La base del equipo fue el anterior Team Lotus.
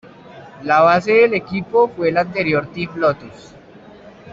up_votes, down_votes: 2, 0